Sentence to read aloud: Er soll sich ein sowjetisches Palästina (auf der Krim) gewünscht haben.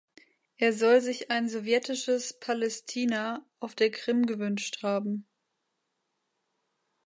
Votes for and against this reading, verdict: 2, 1, accepted